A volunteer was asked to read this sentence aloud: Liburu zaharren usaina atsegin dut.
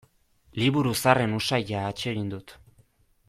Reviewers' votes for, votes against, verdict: 2, 0, accepted